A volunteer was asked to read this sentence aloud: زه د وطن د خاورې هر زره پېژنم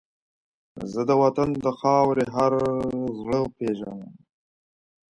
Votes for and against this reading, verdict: 1, 2, rejected